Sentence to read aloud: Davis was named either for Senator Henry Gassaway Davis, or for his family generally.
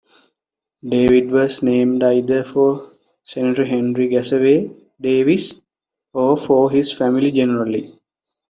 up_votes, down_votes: 1, 2